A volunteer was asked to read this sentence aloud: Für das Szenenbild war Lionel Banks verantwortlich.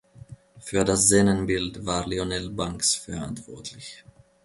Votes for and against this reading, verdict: 1, 2, rejected